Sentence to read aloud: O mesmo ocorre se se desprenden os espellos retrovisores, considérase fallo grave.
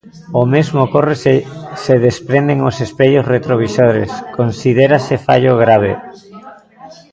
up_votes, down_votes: 1, 2